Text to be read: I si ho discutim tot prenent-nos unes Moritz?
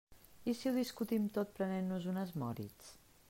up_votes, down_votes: 2, 0